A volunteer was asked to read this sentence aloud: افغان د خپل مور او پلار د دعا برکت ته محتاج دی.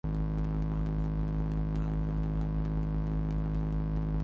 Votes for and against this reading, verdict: 0, 4, rejected